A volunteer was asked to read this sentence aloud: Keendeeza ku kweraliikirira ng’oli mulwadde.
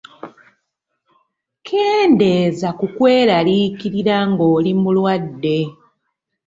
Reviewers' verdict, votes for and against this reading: accepted, 2, 0